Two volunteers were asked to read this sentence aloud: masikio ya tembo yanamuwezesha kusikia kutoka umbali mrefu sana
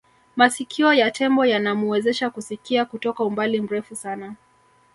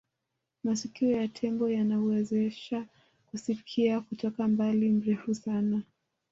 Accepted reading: second